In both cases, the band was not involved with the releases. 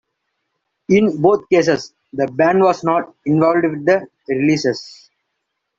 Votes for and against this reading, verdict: 0, 2, rejected